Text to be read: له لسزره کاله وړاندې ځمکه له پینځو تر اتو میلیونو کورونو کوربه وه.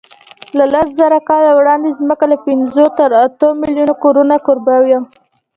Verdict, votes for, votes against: rejected, 1, 2